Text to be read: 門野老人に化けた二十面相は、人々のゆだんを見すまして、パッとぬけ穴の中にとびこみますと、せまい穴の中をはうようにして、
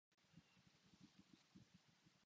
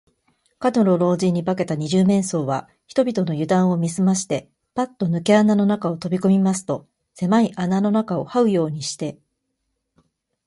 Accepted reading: second